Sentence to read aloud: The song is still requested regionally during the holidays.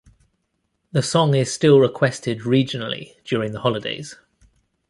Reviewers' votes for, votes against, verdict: 2, 0, accepted